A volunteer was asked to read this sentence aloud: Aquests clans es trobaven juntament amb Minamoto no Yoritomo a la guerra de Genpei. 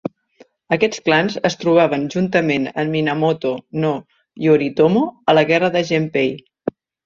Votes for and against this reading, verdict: 2, 0, accepted